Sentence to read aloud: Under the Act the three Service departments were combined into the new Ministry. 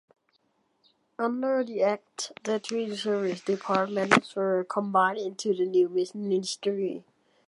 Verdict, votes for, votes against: accepted, 3, 0